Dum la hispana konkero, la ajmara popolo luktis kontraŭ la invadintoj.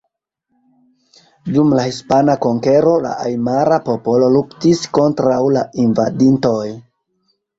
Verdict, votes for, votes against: accepted, 2, 0